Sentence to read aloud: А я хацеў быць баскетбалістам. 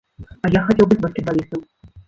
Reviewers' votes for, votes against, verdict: 0, 2, rejected